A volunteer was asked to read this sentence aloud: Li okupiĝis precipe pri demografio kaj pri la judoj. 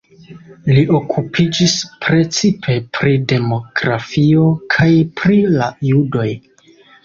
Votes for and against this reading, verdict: 2, 1, accepted